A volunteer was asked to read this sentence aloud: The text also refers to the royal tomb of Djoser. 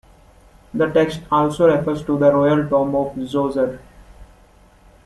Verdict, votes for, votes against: accepted, 3, 2